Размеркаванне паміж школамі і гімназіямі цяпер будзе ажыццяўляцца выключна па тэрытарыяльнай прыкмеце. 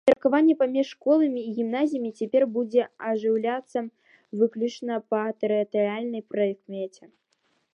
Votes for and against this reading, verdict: 0, 2, rejected